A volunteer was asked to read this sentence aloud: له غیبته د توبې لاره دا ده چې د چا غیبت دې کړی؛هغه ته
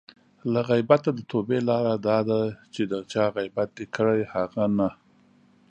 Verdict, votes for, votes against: rejected, 1, 2